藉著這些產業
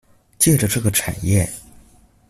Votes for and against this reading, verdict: 0, 2, rejected